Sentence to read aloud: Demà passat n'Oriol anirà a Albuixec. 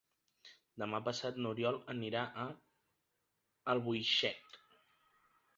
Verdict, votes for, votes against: accepted, 2, 0